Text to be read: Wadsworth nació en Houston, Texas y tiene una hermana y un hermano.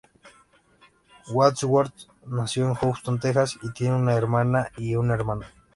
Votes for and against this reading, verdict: 2, 0, accepted